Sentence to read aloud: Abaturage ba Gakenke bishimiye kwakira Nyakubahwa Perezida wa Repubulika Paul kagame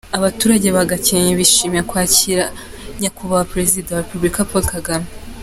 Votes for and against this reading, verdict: 2, 0, accepted